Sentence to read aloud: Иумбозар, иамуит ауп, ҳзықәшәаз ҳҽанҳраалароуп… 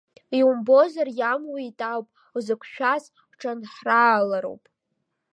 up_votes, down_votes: 0, 2